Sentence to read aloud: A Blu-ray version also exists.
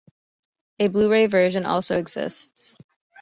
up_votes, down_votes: 2, 0